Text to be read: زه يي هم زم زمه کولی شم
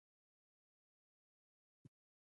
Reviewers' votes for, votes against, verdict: 1, 2, rejected